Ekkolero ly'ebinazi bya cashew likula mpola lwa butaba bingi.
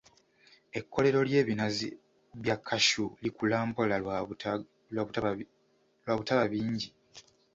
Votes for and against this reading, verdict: 0, 2, rejected